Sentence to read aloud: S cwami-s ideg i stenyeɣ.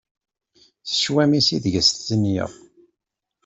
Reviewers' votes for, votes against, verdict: 2, 0, accepted